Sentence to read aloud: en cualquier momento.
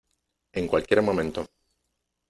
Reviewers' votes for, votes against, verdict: 2, 0, accepted